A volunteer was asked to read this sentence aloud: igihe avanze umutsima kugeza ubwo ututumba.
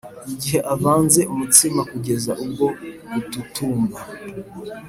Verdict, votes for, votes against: accepted, 2, 0